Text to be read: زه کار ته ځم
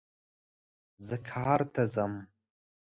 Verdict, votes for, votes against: accepted, 2, 0